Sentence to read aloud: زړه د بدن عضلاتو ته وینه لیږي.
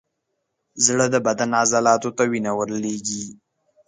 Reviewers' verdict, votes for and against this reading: accepted, 2, 0